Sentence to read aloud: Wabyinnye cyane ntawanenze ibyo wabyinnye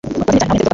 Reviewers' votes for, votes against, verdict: 1, 2, rejected